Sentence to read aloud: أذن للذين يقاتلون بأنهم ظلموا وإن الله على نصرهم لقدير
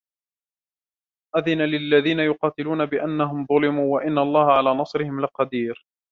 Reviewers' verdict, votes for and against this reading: rejected, 1, 2